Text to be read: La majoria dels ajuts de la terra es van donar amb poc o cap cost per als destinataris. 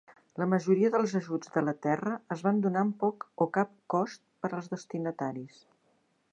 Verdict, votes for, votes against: accepted, 2, 0